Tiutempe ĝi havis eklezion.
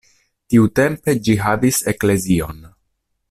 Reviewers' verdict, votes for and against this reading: accepted, 2, 0